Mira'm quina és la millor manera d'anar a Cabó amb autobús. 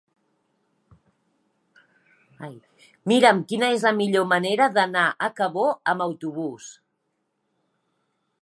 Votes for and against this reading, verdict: 2, 0, accepted